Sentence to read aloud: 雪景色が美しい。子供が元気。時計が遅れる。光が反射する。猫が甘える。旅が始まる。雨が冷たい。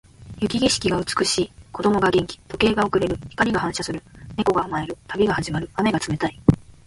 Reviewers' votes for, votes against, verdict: 2, 0, accepted